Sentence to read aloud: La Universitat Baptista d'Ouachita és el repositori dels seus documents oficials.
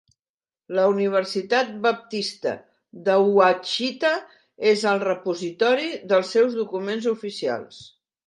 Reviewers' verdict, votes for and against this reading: accepted, 3, 0